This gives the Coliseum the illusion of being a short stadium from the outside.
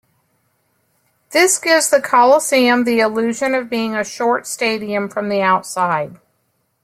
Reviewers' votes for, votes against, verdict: 2, 1, accepted